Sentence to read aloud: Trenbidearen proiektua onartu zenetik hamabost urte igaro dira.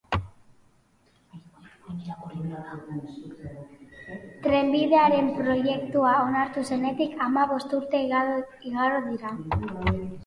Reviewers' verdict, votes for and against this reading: rejected, 0, 2